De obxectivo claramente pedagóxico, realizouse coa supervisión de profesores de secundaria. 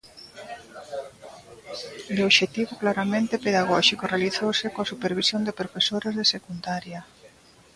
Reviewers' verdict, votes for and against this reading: rejected, 1, 2